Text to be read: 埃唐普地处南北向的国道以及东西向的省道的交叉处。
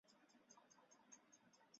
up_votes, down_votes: 1, 2